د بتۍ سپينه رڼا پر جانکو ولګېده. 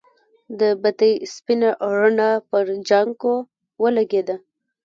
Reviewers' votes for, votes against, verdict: 1, 2, rejected